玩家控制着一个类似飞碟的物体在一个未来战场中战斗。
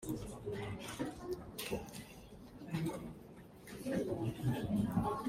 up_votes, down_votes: 0, 2